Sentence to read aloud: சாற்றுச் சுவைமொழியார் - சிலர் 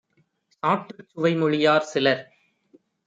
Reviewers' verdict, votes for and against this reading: rejected, 1, 2